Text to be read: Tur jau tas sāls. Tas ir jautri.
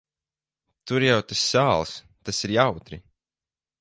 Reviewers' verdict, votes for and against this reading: accepted, 4, 0